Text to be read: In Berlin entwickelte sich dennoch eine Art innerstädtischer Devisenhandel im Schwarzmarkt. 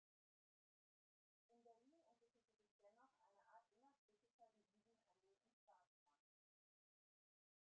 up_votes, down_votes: 0, 2